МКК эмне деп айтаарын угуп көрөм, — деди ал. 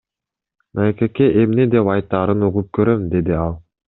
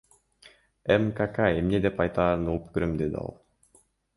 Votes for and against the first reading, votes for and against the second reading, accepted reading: 2, 1, 1, 2, first